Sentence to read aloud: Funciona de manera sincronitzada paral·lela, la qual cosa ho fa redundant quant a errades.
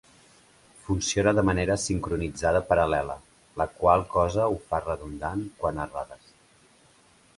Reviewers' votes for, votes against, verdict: 3, 0, accepted